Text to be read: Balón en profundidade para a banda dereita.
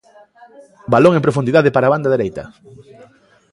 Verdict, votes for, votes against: accepted, 2, 1